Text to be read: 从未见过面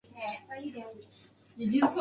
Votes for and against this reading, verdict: 0, 2, rejected